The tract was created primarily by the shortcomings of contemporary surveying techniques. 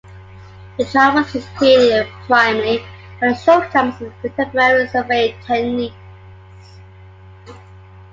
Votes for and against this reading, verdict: 0, 2, rejected